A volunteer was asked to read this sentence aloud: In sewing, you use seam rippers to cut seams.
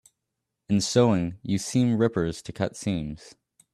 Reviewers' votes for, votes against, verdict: 0, 2, rejected